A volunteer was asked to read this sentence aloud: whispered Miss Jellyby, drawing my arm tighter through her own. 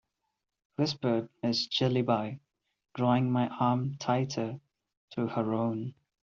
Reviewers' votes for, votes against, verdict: 2, 1, accepted